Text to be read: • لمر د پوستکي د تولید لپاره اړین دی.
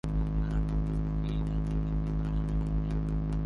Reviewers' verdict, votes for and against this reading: rejected, 0, 2